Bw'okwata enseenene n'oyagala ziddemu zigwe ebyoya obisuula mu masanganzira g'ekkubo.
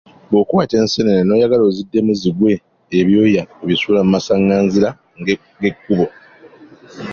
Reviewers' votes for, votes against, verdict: 2, 0, accepted